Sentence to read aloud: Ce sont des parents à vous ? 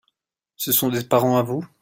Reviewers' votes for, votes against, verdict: 2, 0, accepted